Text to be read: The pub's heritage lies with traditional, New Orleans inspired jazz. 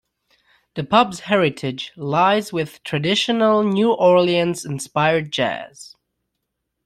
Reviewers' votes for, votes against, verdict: 2, 0, accepted